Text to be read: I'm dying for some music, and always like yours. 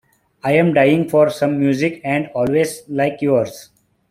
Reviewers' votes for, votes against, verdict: 2, 0, accepted